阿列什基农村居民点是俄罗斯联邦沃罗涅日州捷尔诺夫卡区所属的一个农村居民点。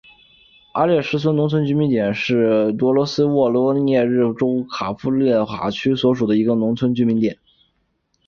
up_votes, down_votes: 3, 0